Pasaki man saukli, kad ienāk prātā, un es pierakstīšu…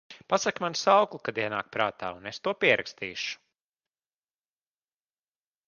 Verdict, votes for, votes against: rejected, 1, 2